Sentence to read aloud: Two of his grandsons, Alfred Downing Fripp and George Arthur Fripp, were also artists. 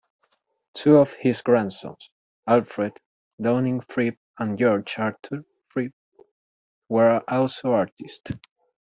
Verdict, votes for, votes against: rejected, 0, 2